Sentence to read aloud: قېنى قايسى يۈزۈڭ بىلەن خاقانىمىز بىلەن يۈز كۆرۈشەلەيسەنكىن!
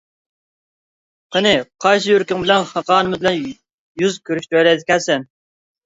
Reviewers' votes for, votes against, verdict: 1, 2, rejected